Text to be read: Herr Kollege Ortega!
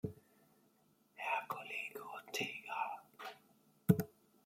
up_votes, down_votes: 1, 2